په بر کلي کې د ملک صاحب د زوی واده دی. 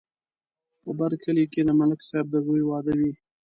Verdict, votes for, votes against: accepted, 2, 1